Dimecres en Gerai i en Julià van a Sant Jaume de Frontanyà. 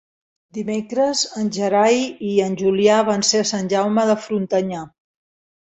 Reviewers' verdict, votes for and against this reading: rejected, 1, 2